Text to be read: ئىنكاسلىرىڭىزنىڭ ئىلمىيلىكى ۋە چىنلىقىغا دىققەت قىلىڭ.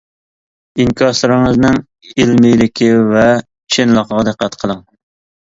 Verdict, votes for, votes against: accepted, 2, 0